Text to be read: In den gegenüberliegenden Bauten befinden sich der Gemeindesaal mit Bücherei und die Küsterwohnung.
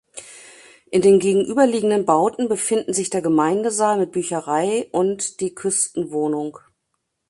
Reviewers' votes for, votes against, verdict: 1, 2, rejected